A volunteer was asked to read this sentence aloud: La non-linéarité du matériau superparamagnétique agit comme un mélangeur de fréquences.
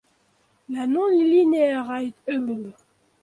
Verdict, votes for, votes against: rejected, 0, 2